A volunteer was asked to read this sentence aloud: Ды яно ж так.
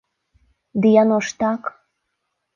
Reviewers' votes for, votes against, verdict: 2, 0, accepted